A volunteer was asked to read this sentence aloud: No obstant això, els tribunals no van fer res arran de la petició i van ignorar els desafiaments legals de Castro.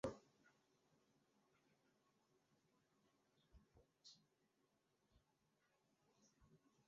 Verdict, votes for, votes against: rejected, 0, 2